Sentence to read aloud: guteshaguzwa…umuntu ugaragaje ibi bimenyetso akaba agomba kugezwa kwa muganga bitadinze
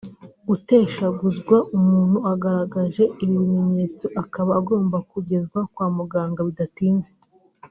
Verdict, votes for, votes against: rejected, 0, 2